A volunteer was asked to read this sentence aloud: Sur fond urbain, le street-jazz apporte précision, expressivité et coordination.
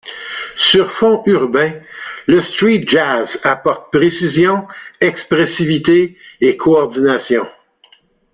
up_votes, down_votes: 2, 1